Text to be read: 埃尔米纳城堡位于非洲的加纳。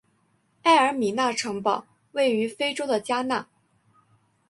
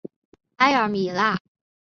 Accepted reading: first